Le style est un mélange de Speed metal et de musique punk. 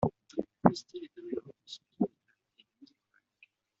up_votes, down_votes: 0, 2